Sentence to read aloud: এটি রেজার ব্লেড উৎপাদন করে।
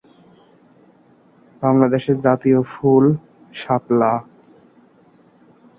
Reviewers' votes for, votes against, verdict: 1, 2, rejected